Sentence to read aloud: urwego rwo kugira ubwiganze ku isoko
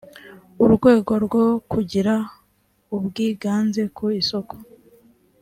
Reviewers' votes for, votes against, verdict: 3, 0, accepted